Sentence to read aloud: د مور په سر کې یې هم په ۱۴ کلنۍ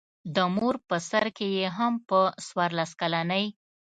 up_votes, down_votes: 0, 2